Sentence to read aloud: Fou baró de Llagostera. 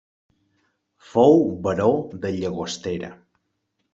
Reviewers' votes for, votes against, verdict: 2, 0, accepted